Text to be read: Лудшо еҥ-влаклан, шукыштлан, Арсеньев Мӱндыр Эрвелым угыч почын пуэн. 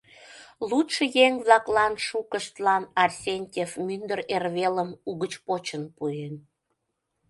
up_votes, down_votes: 0, 2